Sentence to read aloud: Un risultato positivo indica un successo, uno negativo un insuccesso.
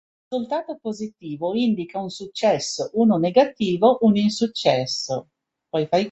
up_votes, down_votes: 0, 2